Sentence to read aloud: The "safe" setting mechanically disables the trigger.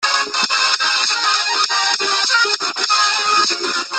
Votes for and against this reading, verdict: 0, 2, rejected